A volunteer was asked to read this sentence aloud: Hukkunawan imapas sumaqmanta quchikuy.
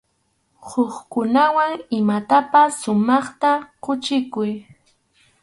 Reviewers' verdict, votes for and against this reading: rejected, 0, 2